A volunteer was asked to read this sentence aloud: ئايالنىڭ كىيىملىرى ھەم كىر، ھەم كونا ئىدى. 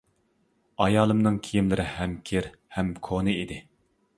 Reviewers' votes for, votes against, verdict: 0, 2, rejected